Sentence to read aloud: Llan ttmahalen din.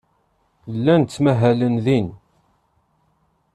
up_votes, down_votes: 2, 0